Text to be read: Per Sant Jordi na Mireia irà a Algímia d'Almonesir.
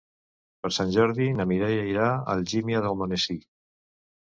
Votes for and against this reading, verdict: 2, 1, accepted